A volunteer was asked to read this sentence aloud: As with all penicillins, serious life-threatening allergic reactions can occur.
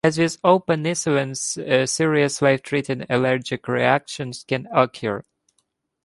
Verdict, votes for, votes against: rejected, 1, 2